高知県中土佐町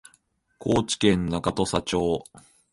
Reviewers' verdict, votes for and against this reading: accepted, 2, 0